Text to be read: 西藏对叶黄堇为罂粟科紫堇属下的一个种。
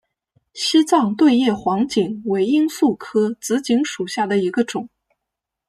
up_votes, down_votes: 3, 0